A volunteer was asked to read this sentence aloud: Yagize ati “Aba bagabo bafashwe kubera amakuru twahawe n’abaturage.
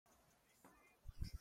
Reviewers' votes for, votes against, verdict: 0, 2, rejected